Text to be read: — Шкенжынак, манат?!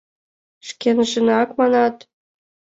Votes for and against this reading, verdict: 2, 0, accepted